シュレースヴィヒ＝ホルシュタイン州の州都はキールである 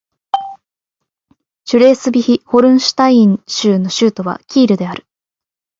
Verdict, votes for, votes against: rejected, 0, 2